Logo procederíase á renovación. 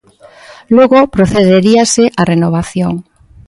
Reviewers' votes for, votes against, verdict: 2, 0, accepted